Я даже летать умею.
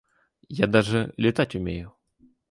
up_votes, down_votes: 2, 0